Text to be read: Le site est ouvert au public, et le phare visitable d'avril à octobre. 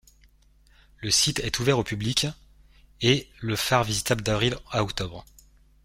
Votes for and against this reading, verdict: 1, 2, rejected